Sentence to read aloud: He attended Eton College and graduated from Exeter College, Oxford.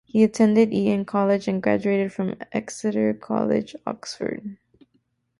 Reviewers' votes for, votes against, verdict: 0, 2, rejected